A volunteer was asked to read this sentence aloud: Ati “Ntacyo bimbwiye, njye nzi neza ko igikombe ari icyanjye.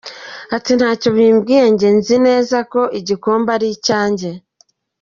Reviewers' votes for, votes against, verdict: 2, 0, accepted